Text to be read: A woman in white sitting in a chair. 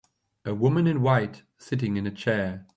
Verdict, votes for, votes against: accepted, 2, 0